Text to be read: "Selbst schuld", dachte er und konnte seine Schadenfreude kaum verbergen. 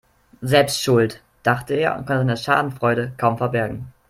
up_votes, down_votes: 0, 2